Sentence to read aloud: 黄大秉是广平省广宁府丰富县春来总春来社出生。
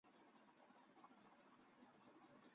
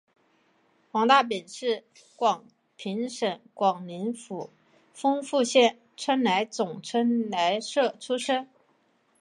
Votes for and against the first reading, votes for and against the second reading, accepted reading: 1, 3, 2, 0, second